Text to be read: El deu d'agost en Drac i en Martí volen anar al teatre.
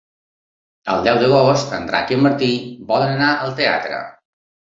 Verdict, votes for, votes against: accepted, 3, 0